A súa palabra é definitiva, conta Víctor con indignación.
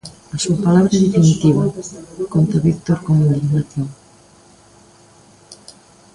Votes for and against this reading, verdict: 2, 1, accepted